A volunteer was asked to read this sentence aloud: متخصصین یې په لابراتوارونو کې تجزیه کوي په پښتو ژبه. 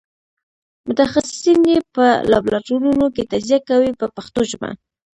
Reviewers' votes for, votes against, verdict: 2, 0, accepted